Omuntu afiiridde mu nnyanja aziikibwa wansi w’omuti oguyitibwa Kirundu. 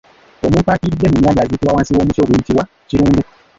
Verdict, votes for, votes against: rejected, 1, 2